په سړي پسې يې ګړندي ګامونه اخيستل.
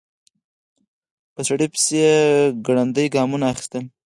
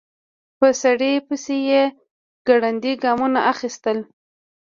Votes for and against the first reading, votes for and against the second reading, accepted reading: 4, 0, 0, 2, first